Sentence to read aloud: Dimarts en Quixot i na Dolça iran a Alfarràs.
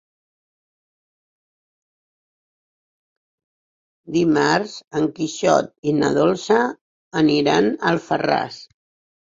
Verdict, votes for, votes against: rejected, 4, 6